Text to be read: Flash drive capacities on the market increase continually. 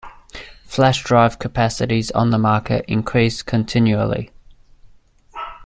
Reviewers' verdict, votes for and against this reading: accepted, 2, 0